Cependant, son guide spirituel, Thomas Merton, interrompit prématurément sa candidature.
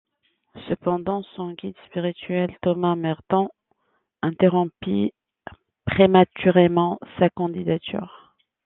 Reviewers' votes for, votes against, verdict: 2, 1, accepted